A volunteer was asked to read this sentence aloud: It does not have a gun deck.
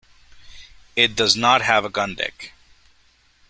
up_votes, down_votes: 2, 1